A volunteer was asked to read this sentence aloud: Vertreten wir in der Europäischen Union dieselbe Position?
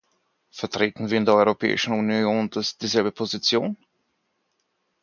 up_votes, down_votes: 2, 6